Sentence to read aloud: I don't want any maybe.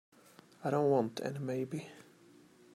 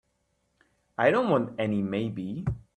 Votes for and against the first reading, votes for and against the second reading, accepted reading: 0, 2, 2, 0, second